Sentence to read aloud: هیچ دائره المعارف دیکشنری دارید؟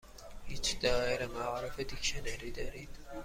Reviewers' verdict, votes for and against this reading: accepted, 2, 0